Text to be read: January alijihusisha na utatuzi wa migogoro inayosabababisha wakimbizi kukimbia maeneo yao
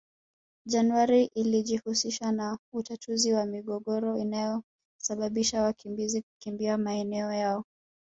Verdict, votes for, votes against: rejected, 1, 2